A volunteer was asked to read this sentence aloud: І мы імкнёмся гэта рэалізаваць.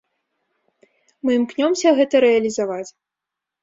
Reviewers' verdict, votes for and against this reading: rejected, 1, 2